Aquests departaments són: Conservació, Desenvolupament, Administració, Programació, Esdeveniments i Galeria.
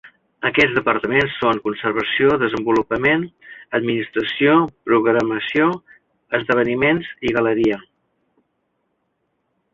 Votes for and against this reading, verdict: 3, 0, accepted